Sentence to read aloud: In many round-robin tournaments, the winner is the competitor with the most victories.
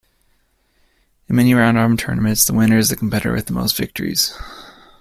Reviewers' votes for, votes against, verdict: 2, 0, accepted